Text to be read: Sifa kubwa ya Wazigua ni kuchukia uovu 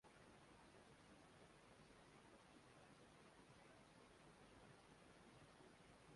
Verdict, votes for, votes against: rejected, 0, 2